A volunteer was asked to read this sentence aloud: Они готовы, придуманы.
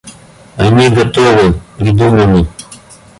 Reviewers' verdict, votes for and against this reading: accepted, 2, 0